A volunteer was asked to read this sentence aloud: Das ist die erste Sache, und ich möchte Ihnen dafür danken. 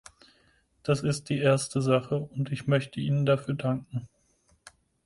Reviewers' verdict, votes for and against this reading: accepted, 4, 0